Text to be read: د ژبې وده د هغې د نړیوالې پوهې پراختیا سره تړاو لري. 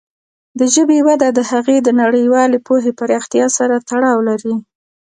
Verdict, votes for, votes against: rejected, 1, 2